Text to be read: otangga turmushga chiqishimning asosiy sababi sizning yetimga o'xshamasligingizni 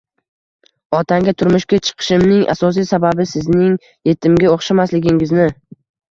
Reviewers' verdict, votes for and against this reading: rejected, 0, 2